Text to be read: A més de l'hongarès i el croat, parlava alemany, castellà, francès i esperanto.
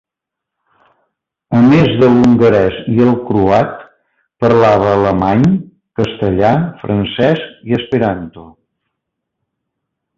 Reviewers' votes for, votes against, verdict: 0, 2, rejected